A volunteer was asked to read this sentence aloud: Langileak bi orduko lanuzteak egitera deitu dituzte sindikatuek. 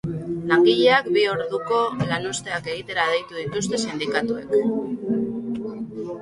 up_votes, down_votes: 2, 2